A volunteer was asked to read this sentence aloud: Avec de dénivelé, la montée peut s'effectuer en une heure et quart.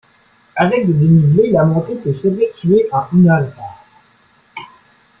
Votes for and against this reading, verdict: 0, 2, rejected